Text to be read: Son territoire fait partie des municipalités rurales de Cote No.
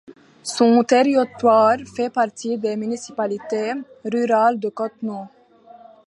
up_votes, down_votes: 0, 2